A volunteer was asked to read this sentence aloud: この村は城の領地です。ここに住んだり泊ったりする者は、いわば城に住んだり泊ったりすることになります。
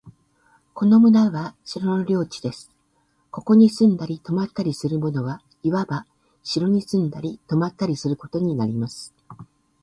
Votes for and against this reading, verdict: 2, 0, accepted